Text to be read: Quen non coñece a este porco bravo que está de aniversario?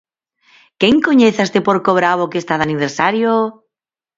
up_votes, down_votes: 0, 4